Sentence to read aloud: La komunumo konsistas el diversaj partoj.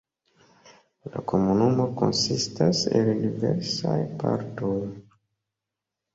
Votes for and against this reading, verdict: 2, 0, accepted